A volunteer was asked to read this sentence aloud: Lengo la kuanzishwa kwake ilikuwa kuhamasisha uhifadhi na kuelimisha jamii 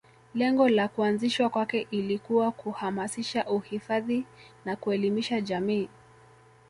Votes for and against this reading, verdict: 2, 0, accepted